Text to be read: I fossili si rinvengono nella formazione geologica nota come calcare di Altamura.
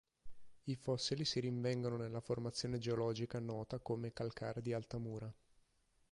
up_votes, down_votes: 12, 0